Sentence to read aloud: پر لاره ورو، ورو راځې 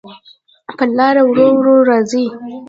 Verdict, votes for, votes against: rejected, 1, 2